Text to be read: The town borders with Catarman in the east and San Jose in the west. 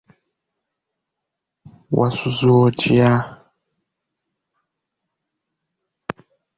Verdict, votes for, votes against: rejected, 0, 2